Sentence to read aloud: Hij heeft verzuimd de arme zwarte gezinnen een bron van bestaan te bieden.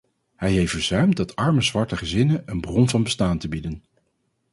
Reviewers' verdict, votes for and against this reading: rejected, 0, 4